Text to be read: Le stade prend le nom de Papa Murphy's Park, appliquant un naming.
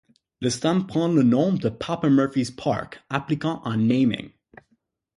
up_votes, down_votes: 0, 6